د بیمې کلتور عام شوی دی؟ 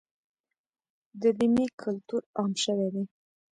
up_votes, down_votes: 0, 2